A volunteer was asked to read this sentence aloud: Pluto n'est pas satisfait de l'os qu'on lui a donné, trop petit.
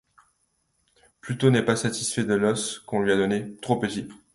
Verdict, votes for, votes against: accepted, 2, 0